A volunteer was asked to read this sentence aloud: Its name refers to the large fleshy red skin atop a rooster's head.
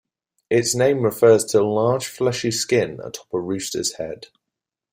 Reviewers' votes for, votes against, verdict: 0, 2, rejected